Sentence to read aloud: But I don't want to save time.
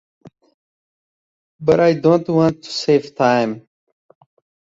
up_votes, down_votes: 2, 0